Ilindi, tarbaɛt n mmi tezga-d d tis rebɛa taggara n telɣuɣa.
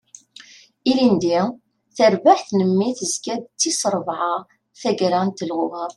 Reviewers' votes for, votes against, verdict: 2, 0, accepted